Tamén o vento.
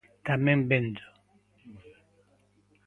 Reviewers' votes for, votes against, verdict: 0, 2, rejected